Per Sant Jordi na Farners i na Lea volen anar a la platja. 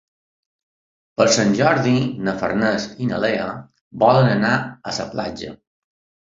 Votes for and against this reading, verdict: 1, 2, rejected